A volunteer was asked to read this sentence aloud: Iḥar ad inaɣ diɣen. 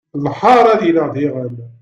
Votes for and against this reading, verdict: 1, 2, rejected